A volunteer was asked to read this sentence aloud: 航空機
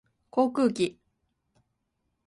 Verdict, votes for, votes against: accepted, 33, 0